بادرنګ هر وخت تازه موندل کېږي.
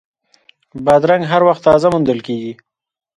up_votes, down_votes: 0, 2